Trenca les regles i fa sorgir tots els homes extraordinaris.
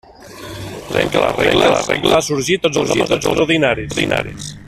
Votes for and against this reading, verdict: 0, 2, rejected